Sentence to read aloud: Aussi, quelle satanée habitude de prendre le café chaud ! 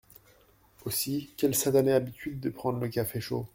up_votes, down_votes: 1, 2